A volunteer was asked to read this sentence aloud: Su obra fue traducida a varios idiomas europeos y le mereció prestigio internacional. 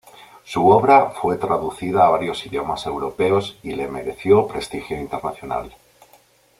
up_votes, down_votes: 2, 0